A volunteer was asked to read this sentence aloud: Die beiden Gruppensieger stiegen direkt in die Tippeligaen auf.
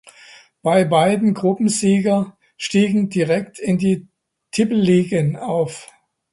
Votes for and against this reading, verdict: 0, 2, rejected